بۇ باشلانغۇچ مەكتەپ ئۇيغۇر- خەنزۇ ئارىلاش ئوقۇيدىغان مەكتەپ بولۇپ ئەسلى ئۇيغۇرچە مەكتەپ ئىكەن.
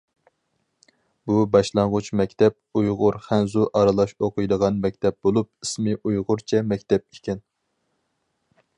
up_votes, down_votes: 0, 4